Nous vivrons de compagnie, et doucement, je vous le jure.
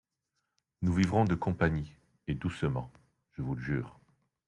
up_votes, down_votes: 2, 0